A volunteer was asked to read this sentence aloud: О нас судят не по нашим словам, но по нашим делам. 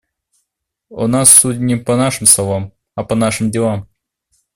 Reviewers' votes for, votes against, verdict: 0, 2, rejected